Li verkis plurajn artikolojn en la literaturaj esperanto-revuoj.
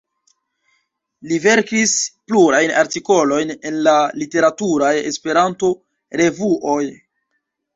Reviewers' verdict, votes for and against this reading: rejected, 1, 2